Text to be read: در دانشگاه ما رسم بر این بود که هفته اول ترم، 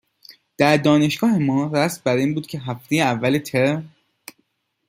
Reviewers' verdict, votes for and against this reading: accepted, 2, 1